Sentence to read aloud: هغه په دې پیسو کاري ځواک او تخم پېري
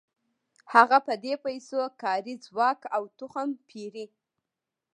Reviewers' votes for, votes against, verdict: 2, 0, accepted